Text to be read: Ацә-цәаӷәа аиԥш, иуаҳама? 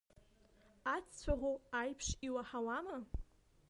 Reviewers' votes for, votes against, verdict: 0, 2, rejected